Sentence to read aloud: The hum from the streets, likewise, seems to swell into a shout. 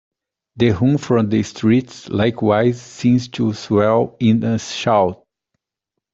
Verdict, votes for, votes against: rejected, 0, 2